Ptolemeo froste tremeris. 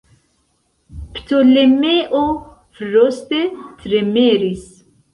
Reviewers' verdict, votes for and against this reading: rejected, 0, 2